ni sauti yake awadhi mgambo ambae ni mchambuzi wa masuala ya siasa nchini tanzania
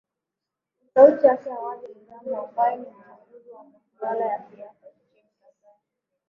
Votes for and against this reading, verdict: 2, 7, rejected